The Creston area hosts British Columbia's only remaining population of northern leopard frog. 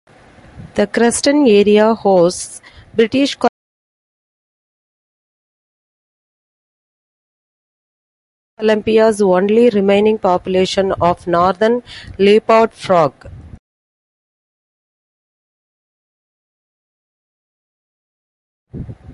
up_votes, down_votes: 0, 2